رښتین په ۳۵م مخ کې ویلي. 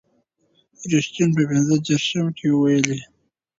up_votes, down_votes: 0, 2